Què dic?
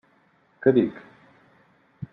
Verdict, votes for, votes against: rejected, 1, 2